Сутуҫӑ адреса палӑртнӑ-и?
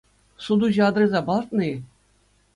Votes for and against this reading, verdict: 2, 0, accepted